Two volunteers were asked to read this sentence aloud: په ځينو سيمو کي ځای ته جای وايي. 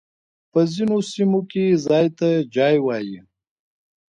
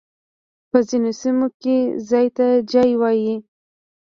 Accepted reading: first